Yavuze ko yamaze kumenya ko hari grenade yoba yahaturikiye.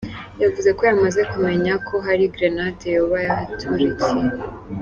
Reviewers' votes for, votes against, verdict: 2, 1, accepted